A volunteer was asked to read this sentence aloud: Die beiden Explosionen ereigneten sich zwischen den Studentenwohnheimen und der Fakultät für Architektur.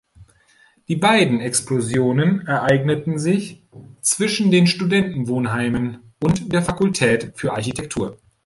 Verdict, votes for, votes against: rejected, 1, 2